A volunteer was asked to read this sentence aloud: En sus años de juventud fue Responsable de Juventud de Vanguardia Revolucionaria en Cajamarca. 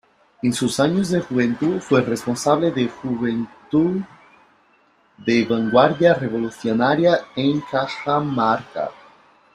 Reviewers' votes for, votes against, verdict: 0, 3, rejected